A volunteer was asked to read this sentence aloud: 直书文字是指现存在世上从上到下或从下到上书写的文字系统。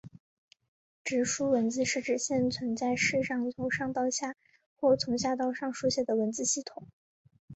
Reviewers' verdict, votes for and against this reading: accepted, 3, 0